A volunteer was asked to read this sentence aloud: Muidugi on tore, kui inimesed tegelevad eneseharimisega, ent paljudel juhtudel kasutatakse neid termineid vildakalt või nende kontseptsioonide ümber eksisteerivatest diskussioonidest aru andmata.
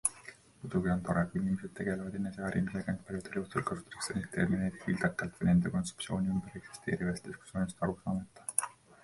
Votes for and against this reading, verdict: 1, 2, rejected